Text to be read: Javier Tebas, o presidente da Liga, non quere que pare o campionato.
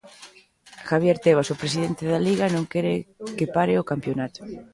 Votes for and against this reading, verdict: 2, 0, accepted